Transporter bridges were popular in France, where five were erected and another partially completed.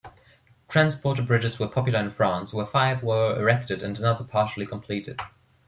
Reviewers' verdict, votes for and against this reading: accepted, 2, 1